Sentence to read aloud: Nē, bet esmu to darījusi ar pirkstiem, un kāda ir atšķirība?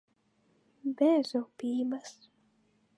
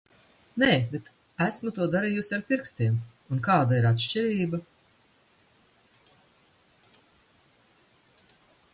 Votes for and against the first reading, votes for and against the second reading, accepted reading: 0, 2, 2, 0, second